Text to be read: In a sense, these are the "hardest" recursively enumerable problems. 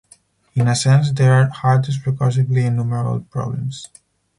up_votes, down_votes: 0, 4